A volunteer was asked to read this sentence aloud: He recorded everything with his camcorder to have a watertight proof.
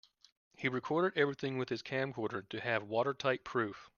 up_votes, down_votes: 0, 2